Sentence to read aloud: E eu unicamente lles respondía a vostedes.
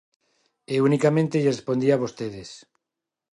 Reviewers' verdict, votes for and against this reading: rejected, 1, 2